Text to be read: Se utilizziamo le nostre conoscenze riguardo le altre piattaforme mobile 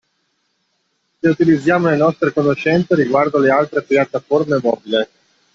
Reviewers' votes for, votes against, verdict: 2, 1, accepted